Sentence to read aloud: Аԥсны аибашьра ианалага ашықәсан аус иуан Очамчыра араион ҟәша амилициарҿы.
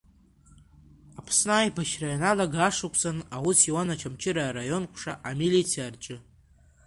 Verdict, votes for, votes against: accepted, 2, 1